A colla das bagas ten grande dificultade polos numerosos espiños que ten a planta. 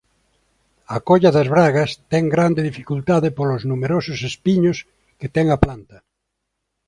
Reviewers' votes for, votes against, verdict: 0, 2, rejected